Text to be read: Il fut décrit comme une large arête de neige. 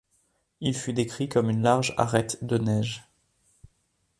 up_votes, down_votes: 2, 0